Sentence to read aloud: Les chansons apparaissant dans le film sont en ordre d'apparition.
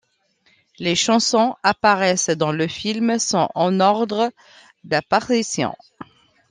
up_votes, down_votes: 2, 0